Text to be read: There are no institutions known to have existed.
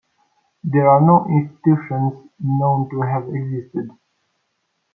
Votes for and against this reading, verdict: 0, 2, rejected